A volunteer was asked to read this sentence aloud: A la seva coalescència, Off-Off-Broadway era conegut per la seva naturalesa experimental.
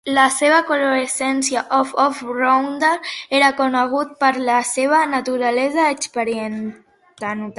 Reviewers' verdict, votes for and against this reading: rejected, 0, 2